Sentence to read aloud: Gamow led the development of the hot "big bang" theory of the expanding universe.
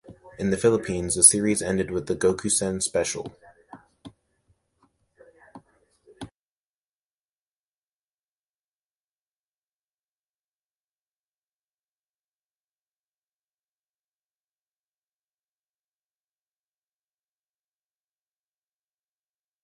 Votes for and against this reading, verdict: 0, 2, rejected